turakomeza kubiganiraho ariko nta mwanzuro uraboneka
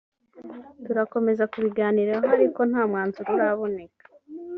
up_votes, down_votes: 2, 0